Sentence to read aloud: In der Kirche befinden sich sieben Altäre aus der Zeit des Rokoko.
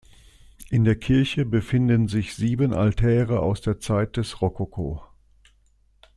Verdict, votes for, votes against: accepted, 2, 0